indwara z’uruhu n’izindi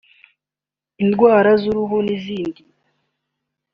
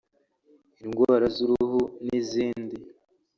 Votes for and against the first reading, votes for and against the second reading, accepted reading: 2, 1, 1, 2, first